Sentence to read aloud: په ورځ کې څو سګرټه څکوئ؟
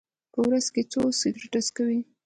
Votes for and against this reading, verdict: 0, 2, rejected